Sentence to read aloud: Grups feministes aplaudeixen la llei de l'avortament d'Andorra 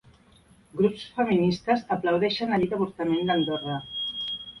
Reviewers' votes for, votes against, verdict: 1, 2, rejected